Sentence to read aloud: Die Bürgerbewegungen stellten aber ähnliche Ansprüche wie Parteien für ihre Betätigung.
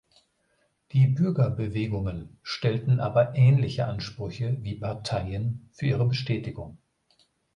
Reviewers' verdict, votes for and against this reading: rejected, 0, 2